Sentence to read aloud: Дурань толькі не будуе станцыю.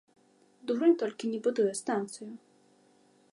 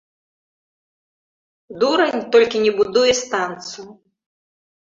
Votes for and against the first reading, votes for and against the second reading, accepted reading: 2, 0, 2, 3, first